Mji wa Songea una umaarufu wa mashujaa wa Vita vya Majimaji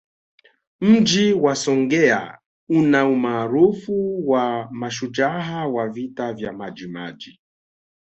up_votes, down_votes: 2, 0